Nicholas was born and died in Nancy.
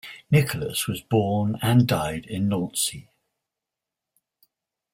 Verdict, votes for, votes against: accepted, 2, 0